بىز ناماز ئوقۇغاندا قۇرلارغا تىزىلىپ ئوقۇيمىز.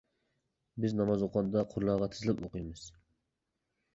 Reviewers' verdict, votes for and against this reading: accepted, 2, 0